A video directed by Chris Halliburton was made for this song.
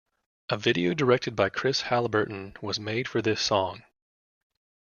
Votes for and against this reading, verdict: 2, 0, accepted